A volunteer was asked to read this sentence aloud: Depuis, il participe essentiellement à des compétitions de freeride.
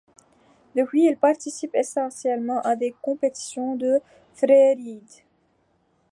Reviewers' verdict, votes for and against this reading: rejected, 0, 2